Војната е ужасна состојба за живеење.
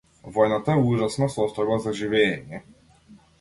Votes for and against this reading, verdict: 1, 2, rejected